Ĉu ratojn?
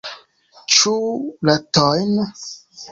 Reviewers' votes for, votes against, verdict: 2, 1, accepted